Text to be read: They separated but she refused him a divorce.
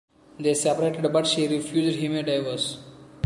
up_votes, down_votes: 2, 1